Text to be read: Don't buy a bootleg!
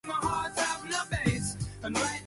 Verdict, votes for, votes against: rejected, 0, 2